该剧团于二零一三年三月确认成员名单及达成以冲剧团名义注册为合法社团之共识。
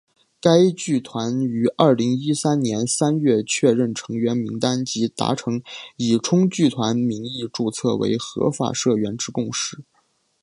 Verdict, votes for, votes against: accepted, 2, 1